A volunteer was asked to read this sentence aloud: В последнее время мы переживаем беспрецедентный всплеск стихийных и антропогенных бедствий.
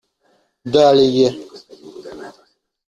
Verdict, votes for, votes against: rejected, 0, 2